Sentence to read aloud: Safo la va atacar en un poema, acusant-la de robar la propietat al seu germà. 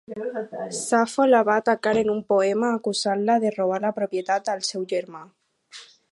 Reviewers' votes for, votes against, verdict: 4, 0, accepted